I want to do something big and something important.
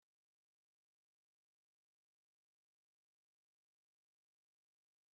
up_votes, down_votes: 0, 2